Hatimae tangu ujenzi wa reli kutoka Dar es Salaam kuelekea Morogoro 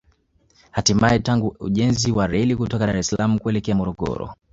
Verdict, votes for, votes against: accepted, 2, 0